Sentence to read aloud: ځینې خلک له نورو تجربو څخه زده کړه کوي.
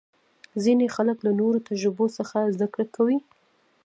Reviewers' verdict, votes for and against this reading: rejected, 0, 2